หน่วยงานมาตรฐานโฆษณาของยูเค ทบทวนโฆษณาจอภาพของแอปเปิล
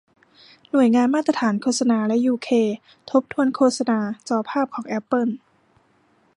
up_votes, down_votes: 0, 2